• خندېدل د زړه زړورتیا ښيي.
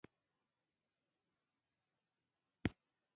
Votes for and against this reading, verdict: 1, 2, rejected